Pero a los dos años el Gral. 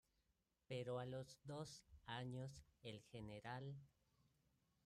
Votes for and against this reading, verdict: 2, 1, accepted